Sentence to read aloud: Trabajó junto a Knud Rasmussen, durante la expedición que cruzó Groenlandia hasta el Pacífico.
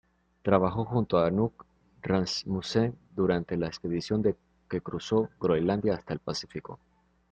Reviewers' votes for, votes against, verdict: 0, 2, rejected